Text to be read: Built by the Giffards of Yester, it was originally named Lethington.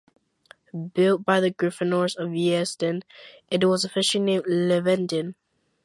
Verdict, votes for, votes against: rejected, 0, 2